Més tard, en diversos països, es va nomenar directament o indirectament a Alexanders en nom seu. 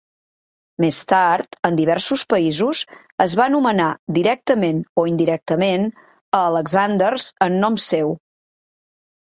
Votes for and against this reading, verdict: 2, 0, accepted